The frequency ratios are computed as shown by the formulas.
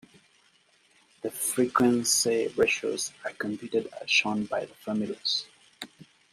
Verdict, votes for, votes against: accepted, 2, 0